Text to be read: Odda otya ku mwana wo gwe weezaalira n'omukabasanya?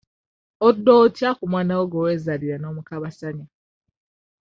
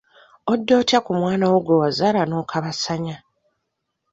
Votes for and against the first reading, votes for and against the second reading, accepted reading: 2, 0, 0, 2, first